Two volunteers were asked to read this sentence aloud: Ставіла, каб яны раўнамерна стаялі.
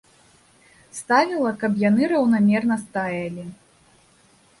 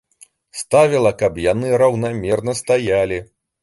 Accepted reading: second